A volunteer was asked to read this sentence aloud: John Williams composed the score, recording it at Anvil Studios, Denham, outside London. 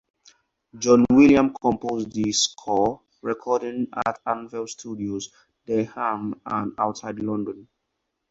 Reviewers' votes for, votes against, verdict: 4, 2, accepted